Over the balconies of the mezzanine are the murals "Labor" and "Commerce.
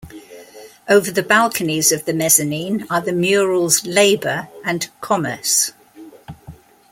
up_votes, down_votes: 2, 0